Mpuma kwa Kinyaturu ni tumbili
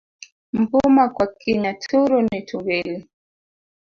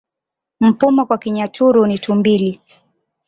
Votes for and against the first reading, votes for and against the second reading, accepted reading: 0, 2, 2, 1, second